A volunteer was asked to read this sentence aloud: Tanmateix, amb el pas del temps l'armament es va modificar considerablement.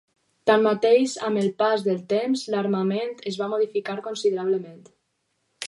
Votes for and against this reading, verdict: 2, 2, rejected